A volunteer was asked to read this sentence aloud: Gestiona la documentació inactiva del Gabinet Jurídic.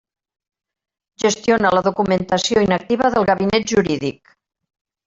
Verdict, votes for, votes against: rejected, 1, 2